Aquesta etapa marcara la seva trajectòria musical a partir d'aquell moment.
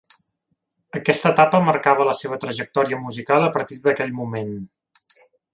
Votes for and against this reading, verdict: 2, 0, accepted